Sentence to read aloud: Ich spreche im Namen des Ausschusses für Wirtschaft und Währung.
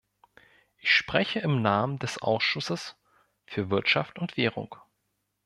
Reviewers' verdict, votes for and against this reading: rejected, 1, 2